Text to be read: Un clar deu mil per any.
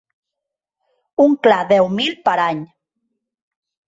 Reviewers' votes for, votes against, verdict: 5, 0, accepted